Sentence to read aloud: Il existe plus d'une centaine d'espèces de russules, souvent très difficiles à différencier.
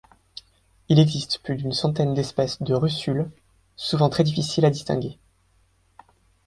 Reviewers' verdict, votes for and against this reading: rejected, 1, 2